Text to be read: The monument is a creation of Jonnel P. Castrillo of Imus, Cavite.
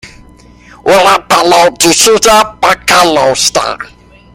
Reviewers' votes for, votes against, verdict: 0, 2, rejected